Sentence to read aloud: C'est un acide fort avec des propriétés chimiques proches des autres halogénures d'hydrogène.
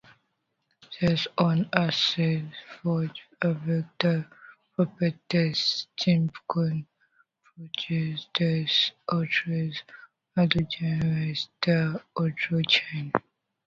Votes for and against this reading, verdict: 0, 2, rejected